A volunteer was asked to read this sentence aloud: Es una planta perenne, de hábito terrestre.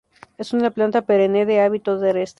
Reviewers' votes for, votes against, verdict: 0, 2, rejected